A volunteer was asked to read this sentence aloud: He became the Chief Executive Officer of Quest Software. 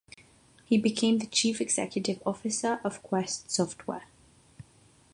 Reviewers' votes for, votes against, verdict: 6, 0, accepted